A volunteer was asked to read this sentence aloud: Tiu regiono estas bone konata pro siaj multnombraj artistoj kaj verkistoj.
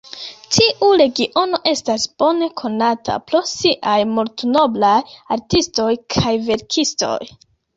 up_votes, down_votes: 2, 0